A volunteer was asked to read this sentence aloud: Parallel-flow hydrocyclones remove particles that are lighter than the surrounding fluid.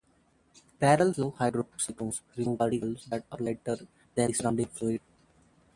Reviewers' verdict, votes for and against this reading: rejected, 0, 2